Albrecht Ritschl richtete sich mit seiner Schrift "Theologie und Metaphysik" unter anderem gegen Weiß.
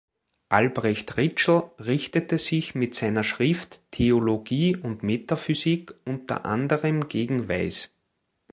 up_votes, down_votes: 3, 0